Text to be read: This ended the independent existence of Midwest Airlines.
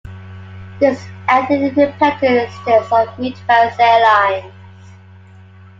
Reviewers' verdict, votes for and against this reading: rejected, 1, 2